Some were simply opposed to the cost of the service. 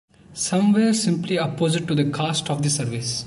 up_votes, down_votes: 2, 0